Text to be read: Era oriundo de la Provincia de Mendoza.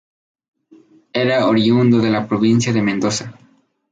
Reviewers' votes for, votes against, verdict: 2, 0, accepted